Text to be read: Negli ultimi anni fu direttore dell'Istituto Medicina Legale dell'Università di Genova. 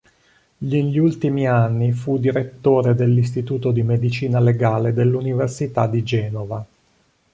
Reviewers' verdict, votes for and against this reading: rejected, 1, 2